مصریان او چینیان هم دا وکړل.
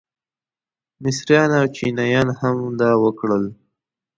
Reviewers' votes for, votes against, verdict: 2, 0, accepted